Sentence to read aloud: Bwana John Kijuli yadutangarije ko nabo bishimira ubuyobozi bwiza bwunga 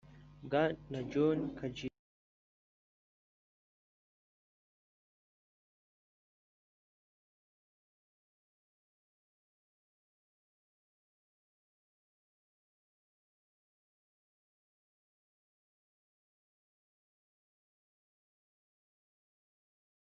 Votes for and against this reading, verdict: 1, 2, rejected